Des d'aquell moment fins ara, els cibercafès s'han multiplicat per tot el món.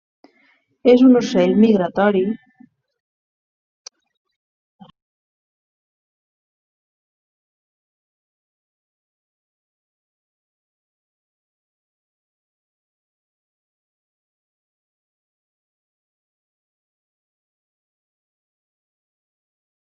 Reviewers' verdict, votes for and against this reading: rejected, 0, 2